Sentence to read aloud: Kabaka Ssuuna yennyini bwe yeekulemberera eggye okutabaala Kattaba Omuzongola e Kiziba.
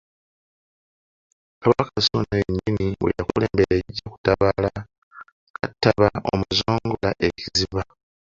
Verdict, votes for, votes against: rejected, 0, 2